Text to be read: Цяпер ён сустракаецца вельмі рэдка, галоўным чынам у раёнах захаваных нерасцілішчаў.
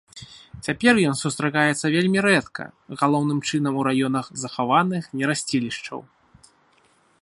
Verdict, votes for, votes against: accepted, 2, 0